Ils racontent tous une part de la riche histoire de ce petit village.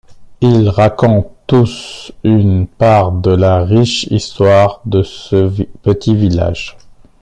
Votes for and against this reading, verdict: 0, 2, rejected